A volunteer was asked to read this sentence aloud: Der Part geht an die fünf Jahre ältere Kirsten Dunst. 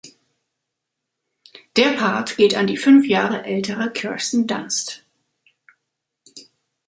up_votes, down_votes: 2, 3